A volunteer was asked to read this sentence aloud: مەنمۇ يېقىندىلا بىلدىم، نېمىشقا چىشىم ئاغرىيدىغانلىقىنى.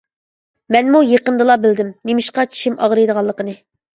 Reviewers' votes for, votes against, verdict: 2, 0, accepted